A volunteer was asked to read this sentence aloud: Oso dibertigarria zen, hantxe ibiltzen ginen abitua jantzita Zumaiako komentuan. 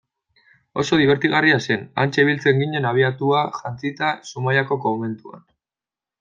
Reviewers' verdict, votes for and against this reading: rejected, 0, 2